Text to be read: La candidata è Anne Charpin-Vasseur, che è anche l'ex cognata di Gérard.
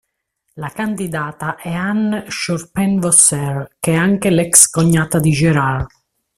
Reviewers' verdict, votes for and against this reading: rejected, 1, 2